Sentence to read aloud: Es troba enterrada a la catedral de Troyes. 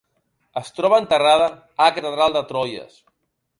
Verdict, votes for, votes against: rejected, 1, 2